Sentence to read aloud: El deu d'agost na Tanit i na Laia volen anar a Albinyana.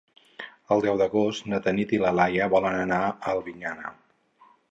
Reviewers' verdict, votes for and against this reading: rejected, 2, 2